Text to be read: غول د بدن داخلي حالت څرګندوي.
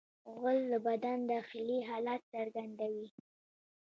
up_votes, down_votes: 2, 0